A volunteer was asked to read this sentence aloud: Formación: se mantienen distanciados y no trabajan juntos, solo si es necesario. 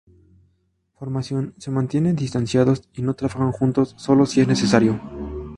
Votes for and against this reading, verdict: 2, 0, accepted